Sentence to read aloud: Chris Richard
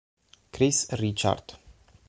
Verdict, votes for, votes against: accepted, 6, 3